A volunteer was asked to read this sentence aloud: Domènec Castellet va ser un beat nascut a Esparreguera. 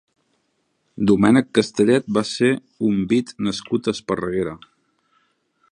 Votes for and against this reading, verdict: 1, 2, rejected